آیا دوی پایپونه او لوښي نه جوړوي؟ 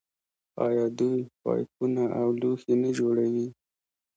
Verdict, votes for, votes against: accepted, 4, 1